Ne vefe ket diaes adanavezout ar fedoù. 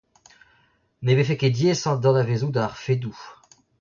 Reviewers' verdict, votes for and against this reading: accepted, 2, 1